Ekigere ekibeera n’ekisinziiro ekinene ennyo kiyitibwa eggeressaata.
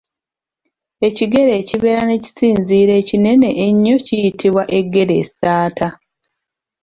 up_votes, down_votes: 3, 0